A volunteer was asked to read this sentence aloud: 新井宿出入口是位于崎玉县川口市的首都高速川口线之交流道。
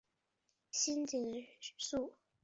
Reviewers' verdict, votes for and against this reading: rejected, 1, 3